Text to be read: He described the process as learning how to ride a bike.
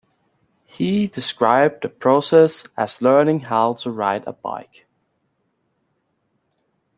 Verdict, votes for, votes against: accepted, 2, 0